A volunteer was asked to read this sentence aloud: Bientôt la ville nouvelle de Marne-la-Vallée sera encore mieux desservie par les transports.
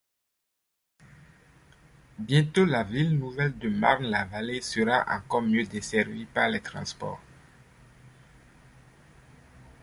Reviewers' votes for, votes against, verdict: 2, 0, accepted